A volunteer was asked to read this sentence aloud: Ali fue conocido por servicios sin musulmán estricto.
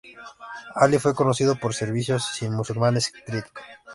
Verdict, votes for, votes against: rejected, 1, 2